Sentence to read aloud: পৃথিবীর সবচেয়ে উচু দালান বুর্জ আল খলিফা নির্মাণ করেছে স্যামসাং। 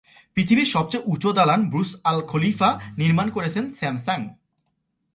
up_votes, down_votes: 0, 2